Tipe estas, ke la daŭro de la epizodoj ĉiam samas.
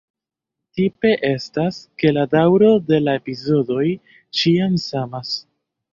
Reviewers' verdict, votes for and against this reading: rejected, 0, 2